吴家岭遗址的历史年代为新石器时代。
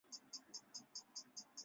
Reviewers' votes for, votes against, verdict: 1, 2, rejected